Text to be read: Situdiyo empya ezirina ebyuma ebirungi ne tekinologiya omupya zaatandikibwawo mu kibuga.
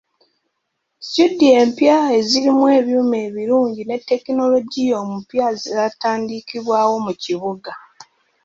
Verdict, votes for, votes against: rejected, 1, 2